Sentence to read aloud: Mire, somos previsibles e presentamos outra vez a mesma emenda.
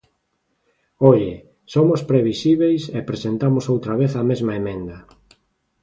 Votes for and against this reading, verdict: 0, 2, rejected